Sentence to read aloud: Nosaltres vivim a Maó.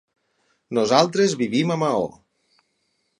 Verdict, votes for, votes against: accepted, 6, 0